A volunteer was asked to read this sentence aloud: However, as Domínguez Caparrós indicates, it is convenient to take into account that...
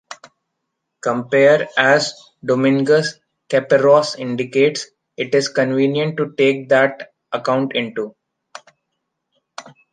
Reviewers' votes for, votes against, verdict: 0, 3, rejected